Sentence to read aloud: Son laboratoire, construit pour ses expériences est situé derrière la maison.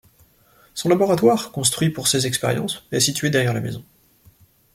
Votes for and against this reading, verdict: 2, 0, accepted